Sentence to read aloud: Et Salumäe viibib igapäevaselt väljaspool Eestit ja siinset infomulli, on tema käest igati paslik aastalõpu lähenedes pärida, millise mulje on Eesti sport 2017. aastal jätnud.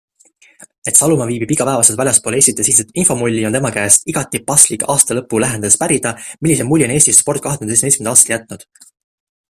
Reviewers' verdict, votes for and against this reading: rejected, 0, 2